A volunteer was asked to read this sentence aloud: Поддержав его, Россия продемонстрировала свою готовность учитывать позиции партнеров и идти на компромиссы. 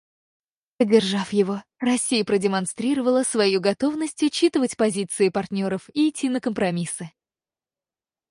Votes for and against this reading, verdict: 0, 4, rejected